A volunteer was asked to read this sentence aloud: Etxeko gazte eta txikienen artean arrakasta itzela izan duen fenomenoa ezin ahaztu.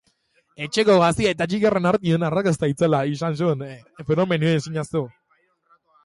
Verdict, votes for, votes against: accepted, 2, 1